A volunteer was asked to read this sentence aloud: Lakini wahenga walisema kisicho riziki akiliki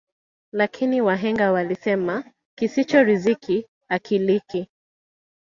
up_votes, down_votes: 0, 2